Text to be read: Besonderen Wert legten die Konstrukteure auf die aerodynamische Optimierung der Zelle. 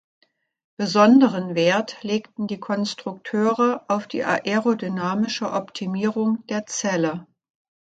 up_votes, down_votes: 2, 0